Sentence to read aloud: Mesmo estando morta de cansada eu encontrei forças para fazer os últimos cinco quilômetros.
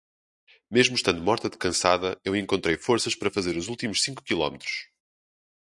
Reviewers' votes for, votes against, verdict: 0, 2, rejected